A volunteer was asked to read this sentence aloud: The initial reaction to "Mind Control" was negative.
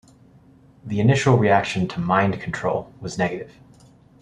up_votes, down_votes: 2, 0